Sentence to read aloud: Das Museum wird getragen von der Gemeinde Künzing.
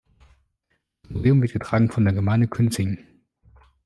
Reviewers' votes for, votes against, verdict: 0, 2, rejected